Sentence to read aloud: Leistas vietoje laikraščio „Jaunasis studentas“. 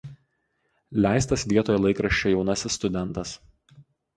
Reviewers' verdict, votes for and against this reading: accepted, 2, 0